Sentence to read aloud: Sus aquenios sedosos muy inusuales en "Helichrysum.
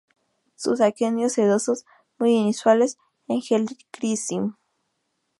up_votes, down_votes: 0, 2